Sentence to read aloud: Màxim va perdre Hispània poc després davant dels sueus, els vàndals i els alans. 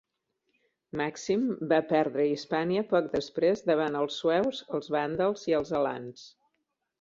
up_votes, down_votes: 1, 2